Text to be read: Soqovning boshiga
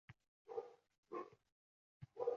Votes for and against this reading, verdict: 0, 2, rejected